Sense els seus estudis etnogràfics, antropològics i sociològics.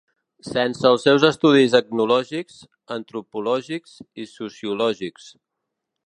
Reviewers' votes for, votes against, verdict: 1, 2, rejected